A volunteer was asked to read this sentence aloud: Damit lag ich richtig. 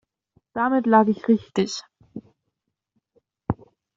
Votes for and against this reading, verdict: 2, 0, accepted